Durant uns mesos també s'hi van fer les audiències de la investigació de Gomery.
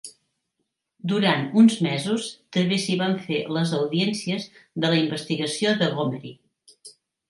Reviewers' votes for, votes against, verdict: 3, 0, accepted